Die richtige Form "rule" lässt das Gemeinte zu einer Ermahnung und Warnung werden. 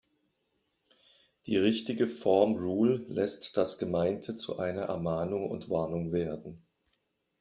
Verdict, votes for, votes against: accepted, 2, 0